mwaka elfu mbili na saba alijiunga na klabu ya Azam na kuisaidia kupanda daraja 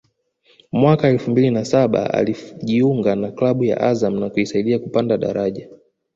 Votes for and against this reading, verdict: 1, 2, rejected